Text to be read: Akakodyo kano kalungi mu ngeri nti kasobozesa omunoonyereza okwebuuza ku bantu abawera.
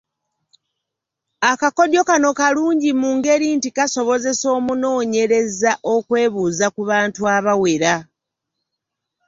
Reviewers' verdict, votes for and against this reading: accepted, 2, 0